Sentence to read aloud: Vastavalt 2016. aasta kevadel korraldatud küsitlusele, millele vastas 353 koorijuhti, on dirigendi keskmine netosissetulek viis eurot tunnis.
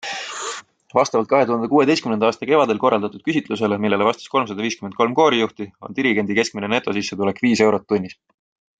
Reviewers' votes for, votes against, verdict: 0, 2, rejected